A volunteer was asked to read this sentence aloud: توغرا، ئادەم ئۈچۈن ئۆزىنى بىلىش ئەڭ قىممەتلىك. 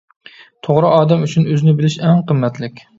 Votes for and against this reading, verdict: 2, 0, accepted